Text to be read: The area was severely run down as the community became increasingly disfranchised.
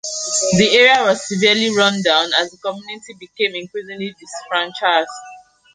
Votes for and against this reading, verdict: 1, 2, rejected